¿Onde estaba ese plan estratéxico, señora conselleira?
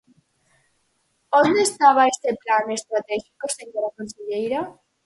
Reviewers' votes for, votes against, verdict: 4, 2, accepted